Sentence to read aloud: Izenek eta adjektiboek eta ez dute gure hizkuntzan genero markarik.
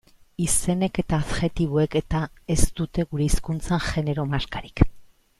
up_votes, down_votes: 2, 0